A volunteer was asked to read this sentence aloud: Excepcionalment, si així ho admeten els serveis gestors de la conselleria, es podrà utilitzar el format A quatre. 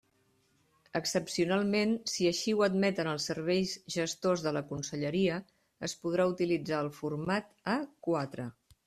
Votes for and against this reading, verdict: 2, 0, accepted